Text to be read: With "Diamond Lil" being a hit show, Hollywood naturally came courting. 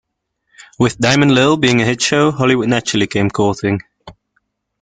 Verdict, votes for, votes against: accepted, 2, 0